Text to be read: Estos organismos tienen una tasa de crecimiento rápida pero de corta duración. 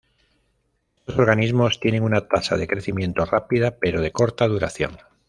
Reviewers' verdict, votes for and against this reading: accepted, 2, 0